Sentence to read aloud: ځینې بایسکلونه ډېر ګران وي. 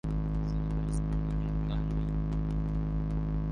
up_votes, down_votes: 0, 2